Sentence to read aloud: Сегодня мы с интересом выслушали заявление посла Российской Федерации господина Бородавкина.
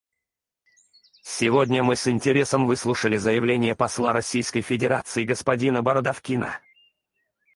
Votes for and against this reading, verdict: 2, 4, rejected